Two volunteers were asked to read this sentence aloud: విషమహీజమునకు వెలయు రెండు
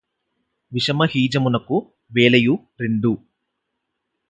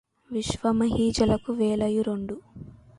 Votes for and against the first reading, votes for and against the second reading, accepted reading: 4, 0, 0, 2, first